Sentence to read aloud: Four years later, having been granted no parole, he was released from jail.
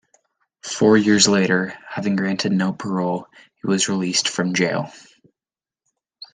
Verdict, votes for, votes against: rejected, 0, 2